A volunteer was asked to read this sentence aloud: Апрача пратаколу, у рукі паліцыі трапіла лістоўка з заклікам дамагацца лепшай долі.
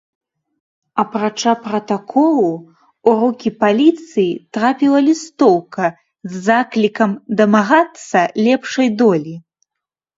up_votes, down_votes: 2, 0